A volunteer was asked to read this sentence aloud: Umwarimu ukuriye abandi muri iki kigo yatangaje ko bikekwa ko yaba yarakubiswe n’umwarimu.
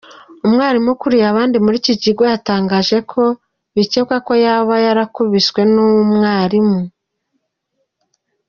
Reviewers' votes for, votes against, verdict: 2, 0, accepted